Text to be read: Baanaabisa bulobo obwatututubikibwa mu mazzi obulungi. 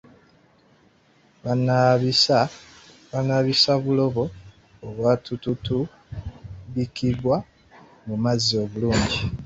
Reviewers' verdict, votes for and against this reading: rejected, 0, 2